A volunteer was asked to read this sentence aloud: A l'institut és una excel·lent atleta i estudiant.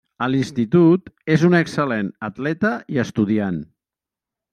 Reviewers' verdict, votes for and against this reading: accepted, 2, 0